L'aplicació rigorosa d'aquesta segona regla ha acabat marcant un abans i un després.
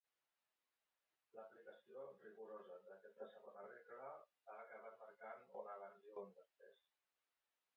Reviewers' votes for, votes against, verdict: 2, 2, rejected